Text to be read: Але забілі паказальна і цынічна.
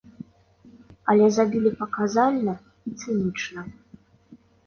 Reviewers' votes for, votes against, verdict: 2, 0, accepted